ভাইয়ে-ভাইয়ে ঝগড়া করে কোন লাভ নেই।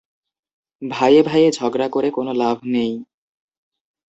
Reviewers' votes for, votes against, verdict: 2, 0, accepted